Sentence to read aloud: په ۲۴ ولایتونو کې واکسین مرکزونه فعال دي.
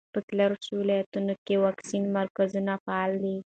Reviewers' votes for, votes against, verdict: 0, 2, rejected